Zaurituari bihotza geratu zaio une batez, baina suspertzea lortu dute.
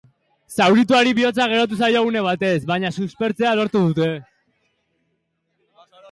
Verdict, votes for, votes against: accepted, 3, 0